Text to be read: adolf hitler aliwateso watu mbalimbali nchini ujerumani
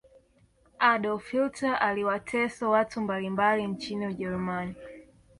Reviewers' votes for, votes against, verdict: 2, 0, accepted